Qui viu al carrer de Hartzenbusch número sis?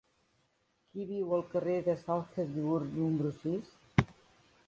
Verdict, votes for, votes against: rejected, 0, 2